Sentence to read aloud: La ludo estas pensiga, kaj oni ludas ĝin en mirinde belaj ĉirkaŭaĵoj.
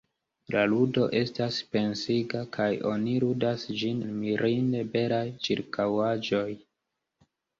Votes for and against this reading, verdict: 1, 2, rejected